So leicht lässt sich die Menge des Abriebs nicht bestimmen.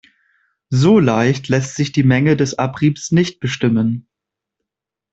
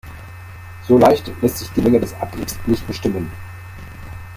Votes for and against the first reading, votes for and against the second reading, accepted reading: 2, 0, 1, 2, first